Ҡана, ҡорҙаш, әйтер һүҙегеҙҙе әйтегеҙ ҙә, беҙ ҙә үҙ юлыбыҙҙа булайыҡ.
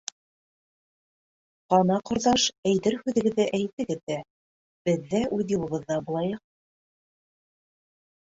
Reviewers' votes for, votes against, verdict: 1, 2, rejected